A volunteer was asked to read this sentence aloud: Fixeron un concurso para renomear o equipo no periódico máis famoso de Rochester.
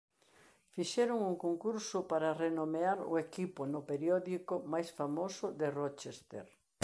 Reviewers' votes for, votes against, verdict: 2, 0, accepted